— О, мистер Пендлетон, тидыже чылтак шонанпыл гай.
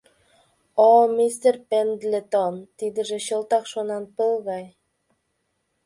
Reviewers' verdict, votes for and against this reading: accepted, 2, 0